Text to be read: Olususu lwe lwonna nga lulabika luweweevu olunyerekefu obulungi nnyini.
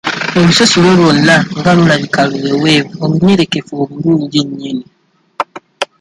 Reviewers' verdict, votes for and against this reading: rejected, 0, 2